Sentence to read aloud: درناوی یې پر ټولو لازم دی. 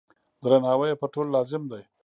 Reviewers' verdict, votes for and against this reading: rejected, 0, 2